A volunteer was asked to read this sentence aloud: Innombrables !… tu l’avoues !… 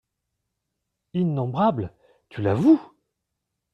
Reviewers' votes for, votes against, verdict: 2, 0, accepted